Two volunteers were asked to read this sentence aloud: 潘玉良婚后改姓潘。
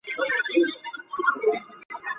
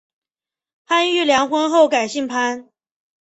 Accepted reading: second